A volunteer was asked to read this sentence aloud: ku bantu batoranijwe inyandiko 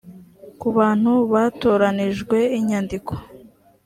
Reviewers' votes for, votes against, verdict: 2, 0, accepted